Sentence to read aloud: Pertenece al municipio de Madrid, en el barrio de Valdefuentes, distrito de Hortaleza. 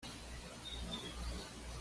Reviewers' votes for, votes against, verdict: 1, 2, rejected